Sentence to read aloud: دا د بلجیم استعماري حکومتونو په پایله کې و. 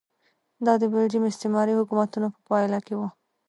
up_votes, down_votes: 0, 2